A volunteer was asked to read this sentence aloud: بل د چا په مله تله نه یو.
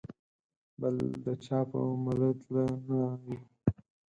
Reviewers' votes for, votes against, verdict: 4, 0, accepted